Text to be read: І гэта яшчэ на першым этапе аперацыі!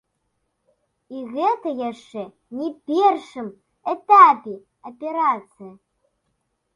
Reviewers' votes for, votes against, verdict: 0, 2, rejected